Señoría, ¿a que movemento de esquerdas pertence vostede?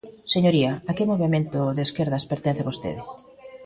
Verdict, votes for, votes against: rejected, 1, 2